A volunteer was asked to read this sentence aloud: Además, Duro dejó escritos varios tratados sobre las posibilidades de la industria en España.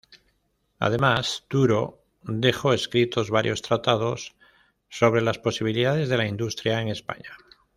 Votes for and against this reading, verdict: 1, 2, rejected